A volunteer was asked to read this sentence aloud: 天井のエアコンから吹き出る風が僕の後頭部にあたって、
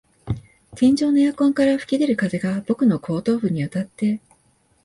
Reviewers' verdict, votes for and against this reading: accepted, 5, 0